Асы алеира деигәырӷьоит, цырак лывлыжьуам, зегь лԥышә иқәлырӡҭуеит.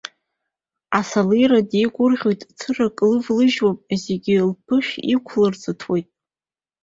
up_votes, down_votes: 2, 0